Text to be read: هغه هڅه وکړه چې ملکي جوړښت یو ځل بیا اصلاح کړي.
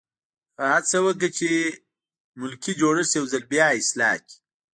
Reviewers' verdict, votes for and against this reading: accepted, 2, 0